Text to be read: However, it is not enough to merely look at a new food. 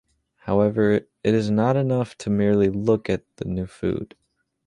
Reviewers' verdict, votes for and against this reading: rejected, 0, 2